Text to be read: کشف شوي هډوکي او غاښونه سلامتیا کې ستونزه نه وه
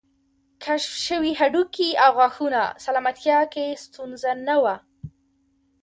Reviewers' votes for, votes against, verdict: 3, 1, accepted